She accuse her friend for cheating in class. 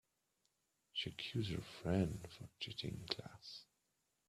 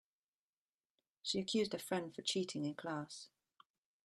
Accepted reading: first